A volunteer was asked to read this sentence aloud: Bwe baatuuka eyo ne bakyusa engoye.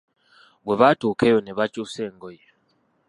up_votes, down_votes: 2, 0